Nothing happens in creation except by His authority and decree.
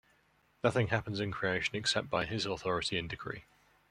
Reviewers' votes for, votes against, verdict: 2, 1, accepted